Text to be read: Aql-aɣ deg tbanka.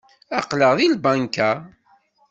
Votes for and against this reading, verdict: 1, 2, rejected